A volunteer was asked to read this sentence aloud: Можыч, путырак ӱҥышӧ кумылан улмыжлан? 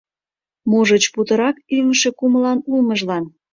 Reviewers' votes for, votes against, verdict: 2, 0, accepted